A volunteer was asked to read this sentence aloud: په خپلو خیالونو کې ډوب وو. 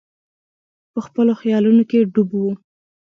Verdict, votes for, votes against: accepted, 3, 0